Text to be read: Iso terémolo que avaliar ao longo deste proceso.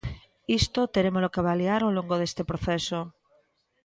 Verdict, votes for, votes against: rejected, 1, 2